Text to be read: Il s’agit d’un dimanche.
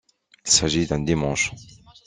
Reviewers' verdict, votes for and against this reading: accepted, 2, 1